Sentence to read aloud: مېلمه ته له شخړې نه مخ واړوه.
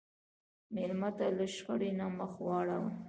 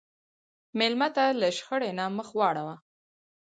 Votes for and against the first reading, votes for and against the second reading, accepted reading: 1, 2, 4, 0, second